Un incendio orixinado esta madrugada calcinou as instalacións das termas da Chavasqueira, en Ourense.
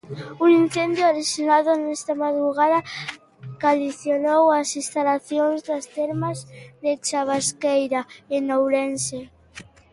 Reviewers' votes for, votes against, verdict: 0, 2, rejected